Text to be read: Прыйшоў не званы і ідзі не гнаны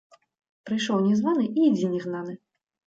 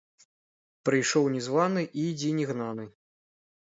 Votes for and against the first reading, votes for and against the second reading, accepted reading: 2, 0, 1, 2, first